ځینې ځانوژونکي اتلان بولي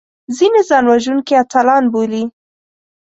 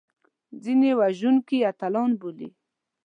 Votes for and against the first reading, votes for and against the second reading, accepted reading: 4, 0, 1, 2, first